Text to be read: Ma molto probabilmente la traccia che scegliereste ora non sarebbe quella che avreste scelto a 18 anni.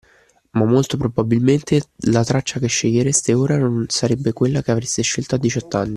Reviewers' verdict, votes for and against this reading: rejected, 0, 2